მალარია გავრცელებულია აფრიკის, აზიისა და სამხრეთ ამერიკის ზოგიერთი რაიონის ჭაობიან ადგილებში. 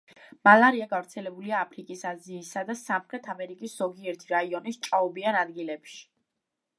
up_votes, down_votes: 2, 0